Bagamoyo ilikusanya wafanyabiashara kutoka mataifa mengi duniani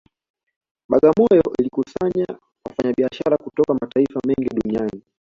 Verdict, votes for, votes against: accepted, 2, 1